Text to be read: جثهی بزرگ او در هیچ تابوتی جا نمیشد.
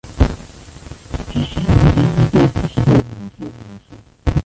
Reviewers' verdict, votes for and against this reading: rejected, 0, 2